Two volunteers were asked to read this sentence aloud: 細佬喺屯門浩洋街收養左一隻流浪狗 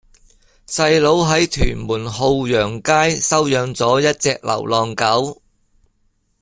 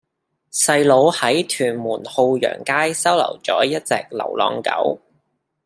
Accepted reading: first